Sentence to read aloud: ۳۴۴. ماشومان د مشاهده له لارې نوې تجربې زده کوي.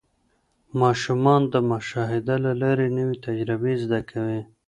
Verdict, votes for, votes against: rejected, 0, 2